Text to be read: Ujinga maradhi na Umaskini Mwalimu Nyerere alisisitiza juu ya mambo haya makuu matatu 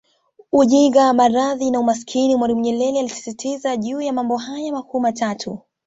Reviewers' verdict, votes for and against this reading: accepted, 2, 0